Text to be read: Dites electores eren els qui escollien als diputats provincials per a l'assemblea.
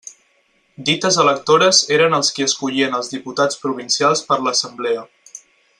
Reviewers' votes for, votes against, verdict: 4, 0, accepted